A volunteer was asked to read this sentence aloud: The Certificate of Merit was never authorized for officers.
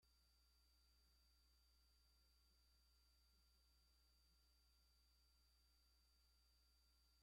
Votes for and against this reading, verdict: 0, 2, rejected